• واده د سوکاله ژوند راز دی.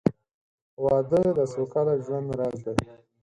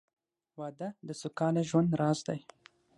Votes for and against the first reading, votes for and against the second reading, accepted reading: 4, 0, 0, 6, first